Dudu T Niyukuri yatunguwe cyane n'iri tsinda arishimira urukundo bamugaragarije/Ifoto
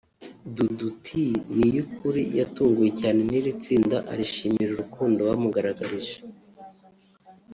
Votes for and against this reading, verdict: 0, 2, rejected